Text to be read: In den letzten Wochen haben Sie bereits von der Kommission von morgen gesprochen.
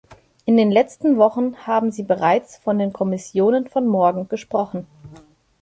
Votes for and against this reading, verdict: 0, 2, rejected